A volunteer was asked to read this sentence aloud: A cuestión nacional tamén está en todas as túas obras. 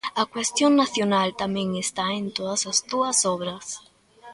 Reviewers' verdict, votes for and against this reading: accepted, 2, 0